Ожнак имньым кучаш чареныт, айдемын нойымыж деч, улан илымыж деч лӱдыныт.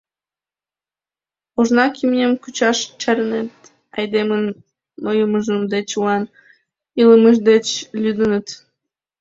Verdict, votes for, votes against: rejected, 0, 2